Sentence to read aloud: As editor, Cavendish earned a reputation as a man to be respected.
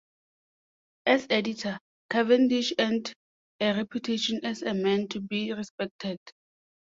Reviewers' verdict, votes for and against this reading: accepted, 2, 0